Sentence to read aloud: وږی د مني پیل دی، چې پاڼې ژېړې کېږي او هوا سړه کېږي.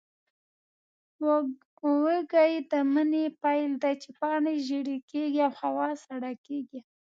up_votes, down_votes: 2, 1